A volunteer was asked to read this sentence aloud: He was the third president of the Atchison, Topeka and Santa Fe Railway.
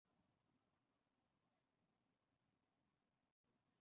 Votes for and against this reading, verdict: 0, 2, rejected